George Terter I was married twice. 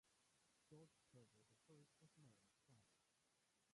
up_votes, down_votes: 0, 2